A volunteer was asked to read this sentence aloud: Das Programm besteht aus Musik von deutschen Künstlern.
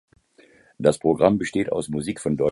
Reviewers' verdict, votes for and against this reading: rejected, 0, 2